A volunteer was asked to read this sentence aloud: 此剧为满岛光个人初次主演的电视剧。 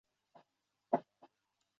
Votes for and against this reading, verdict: 0, 2, rejected